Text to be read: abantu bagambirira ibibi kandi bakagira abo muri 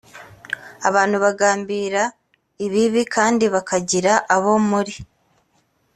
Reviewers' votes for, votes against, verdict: 3, 1, accepted